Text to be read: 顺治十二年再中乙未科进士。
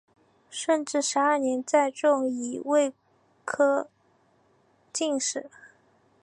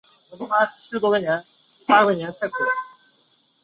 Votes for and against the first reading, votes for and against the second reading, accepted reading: 3, 0, 0, 2, first